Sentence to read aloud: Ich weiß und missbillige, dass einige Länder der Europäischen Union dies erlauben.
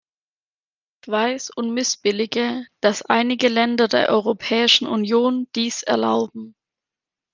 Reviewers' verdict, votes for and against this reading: rejected, 1, 2